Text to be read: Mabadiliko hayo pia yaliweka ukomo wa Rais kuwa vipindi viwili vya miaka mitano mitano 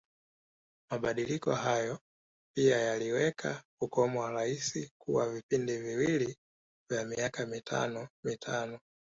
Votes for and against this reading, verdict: 2, 0, accepted